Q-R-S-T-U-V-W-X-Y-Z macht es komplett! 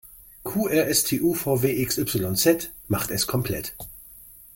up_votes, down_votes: 2, 0